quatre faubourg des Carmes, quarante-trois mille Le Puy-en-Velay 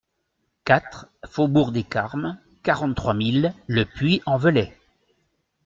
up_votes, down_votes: 2, 0